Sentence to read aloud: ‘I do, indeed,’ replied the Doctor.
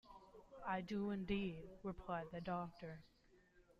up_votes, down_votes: 2, 0